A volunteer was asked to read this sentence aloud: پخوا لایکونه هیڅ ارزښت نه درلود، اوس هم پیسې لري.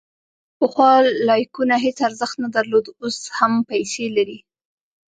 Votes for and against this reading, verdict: 0, 2, rejected